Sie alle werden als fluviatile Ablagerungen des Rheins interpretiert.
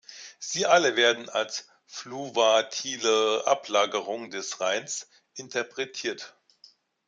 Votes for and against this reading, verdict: 0, 3, rejected